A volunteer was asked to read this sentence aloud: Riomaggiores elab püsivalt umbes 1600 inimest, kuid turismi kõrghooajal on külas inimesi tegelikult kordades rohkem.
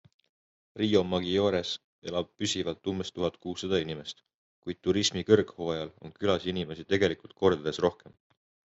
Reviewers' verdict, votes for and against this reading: rejected, 0, 2